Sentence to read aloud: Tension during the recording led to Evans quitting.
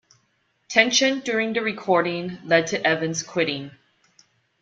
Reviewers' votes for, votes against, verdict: 2, 0, accepted